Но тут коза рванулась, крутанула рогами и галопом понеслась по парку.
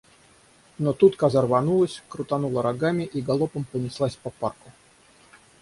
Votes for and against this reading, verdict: 6, 0, accepted